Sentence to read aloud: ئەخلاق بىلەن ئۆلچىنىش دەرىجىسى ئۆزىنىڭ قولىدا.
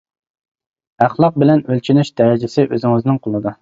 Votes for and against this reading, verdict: 0, 2, rejected